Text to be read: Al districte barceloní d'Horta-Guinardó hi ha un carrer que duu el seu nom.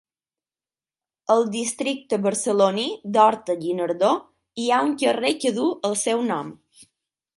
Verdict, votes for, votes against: accepted, 6, 0